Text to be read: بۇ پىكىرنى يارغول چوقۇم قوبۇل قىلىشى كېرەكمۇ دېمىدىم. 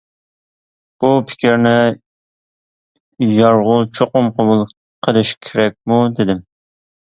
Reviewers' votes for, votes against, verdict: 0, 2, rejected